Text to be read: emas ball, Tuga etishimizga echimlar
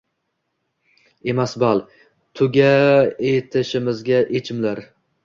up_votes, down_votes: 1, 2